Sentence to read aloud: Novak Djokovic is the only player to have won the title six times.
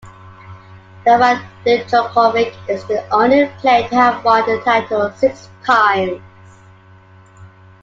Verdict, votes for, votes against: accepted, 2, 1